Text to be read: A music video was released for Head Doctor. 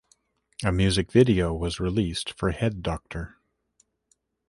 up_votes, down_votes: 2, 0